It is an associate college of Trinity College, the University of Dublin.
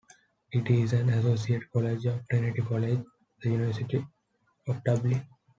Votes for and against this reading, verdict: 2, 0, accepted